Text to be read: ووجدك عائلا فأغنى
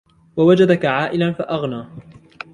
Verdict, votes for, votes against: accepted, 2, 0